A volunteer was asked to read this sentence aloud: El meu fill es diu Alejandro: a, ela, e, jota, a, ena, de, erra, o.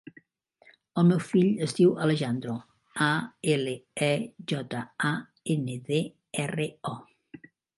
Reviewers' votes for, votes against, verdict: 0, 2, rejected